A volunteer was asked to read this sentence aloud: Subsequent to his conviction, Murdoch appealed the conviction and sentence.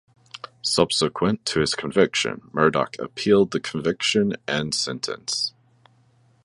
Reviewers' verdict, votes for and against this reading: accepted, 3, 0